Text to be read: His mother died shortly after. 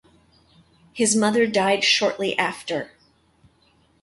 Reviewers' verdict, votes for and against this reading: accepted, 2, 0